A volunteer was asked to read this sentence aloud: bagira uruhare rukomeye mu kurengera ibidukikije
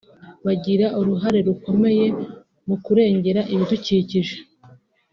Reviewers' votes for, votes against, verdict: 2, 0, accepted